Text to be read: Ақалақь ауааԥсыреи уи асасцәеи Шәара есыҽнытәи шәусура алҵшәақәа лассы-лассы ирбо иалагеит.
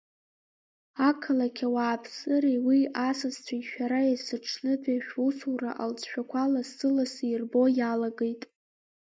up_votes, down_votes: 0, 2